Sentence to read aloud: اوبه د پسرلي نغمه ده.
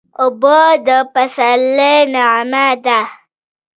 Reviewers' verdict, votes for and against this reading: accepted, 3, 1